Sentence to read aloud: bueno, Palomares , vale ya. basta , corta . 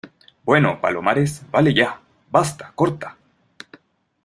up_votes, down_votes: 2, 0